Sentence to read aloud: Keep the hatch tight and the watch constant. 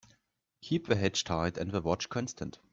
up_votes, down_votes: 0, 2